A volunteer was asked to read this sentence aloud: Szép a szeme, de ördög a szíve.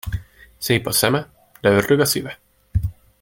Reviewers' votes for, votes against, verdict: 2, 0, accepted